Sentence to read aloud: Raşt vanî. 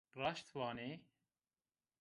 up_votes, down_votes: 2, 0